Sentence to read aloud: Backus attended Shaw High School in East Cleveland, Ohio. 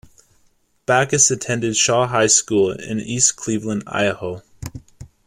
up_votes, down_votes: 0, 2